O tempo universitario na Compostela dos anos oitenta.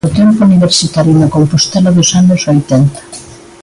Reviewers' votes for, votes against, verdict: 2, 1, accepted